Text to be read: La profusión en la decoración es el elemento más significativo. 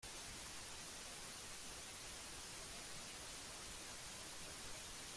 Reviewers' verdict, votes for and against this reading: rejected, 1, 2